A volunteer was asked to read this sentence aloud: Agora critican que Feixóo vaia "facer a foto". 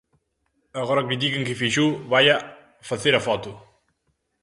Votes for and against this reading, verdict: 2, 0, accepted